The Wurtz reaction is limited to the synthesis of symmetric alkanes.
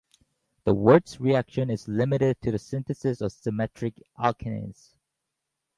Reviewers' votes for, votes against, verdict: 4, 0, accepted